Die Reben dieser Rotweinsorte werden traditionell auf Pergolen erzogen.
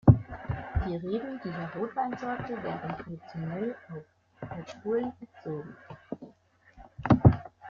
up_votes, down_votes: 0, 2